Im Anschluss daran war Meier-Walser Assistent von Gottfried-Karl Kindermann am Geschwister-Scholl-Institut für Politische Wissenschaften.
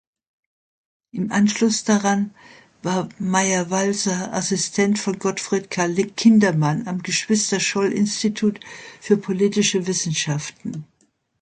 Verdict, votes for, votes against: rejected, 0, 2